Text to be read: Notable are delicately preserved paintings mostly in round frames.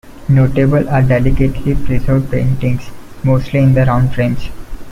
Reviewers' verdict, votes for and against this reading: rejected, 0, 2